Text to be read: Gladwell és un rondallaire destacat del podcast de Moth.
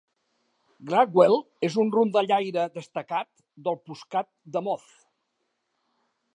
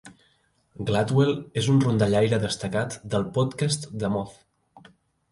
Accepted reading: second